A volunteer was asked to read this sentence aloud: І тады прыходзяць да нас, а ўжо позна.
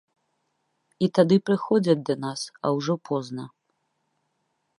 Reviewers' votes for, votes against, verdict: 2, 0, accepted